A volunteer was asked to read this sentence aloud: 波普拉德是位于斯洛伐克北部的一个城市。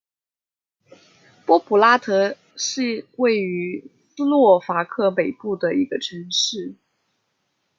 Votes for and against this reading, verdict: 1, 2, rejected